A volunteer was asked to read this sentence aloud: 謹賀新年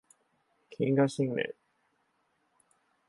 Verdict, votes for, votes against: accepted, 4, 2